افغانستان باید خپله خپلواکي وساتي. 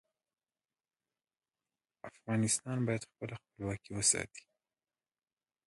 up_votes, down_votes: 2, 0